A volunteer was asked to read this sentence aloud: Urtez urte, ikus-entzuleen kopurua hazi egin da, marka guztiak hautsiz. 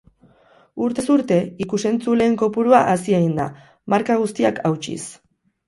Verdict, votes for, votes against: accepted, 10, 0